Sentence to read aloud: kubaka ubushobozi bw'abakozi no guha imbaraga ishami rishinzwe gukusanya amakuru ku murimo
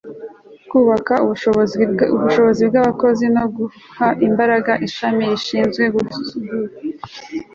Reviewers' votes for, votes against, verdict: 1, 2, rejected